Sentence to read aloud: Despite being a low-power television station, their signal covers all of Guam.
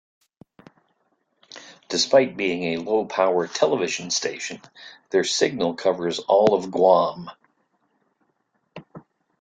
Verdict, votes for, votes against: accepted, 2, 0